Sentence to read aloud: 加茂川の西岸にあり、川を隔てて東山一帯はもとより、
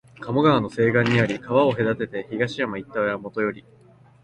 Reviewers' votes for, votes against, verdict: 11, 2, accepted